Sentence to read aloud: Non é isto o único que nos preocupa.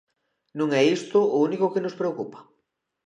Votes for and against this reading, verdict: 2, 0, accepted